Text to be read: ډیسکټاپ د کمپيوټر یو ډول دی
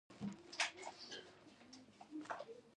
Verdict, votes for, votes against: accepted, 2, 0